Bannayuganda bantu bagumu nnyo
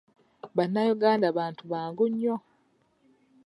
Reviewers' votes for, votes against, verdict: 0, 2, rejected